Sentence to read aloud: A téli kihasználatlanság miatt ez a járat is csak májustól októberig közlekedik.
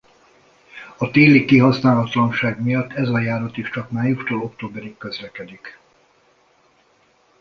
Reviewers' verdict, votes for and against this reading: accepted, 2, 0